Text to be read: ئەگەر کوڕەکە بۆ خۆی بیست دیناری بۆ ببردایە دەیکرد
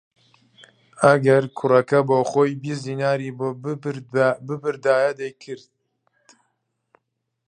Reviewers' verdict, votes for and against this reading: rejected, 0, 2